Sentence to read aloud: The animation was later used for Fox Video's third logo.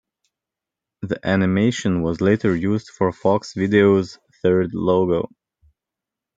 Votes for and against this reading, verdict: 2, 1, accepted